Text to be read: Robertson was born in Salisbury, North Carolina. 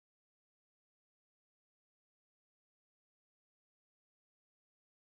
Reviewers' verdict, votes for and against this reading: rejected, 0, 2